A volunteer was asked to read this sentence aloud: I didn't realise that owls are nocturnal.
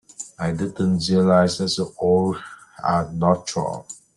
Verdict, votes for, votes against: rejected, 0, 2